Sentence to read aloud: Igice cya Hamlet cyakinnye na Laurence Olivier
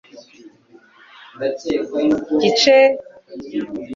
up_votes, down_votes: 0, 2